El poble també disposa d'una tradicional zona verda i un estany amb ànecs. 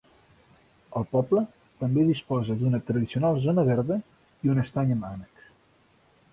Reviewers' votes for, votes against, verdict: 2, 3, rejected